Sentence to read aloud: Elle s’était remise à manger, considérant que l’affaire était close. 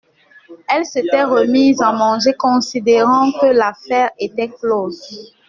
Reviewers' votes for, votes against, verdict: 2, 0, accepted